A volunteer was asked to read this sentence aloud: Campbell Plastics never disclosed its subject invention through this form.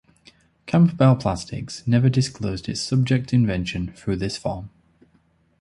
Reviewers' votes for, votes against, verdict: 2, 0, accepted